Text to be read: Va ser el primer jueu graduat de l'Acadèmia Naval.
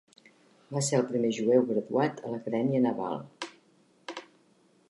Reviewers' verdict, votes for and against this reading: rejected, 0, 2